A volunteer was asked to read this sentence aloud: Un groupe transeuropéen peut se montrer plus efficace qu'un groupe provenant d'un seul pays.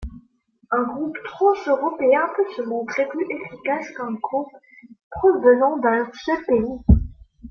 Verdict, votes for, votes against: accepted, 2, 0